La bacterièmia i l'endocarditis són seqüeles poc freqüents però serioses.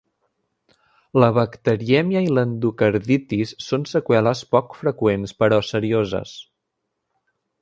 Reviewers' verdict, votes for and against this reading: accepted, 3, 0